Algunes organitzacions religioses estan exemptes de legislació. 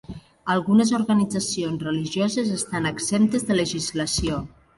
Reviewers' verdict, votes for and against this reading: accepted, 2, 0